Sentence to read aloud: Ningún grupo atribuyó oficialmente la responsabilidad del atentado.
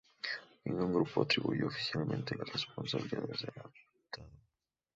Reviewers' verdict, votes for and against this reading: rejected, 0, 2